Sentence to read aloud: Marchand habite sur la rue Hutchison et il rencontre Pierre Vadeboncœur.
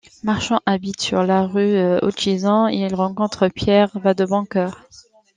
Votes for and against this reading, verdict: 2, 0, accepted